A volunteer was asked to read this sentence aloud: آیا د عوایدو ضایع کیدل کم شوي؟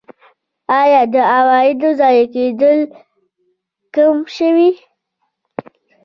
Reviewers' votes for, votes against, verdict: 0, 2, rejected